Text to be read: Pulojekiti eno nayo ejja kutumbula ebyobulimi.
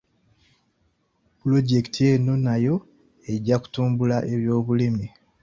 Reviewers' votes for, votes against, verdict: 0, 2, rejected